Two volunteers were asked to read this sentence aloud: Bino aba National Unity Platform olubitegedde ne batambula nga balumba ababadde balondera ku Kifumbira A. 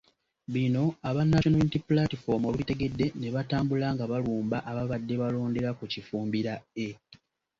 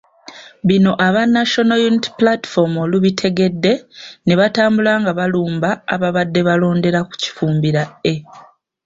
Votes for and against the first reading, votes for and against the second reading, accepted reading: 1, 2, 3, 1, second